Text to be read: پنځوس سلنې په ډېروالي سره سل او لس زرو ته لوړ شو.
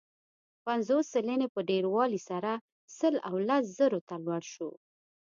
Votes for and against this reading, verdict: 2, 0, accepted